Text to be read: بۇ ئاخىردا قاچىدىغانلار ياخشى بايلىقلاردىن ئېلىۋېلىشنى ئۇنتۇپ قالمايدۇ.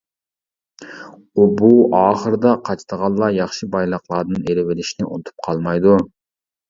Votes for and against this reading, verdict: 0, 2, rejected